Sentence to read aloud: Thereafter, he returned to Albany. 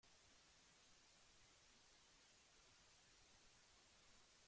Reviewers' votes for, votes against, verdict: 0, 2, rejected